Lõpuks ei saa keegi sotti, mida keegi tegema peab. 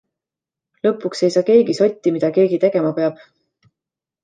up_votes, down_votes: 2, 0